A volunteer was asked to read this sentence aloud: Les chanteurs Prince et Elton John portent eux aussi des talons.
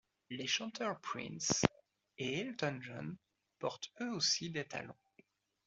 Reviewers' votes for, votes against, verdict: 2, 0, accepted